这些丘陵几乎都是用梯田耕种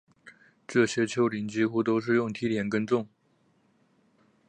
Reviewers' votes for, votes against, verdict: 6, 0, accepted